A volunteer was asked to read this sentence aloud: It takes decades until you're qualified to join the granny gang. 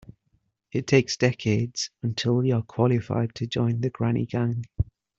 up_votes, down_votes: 2, 1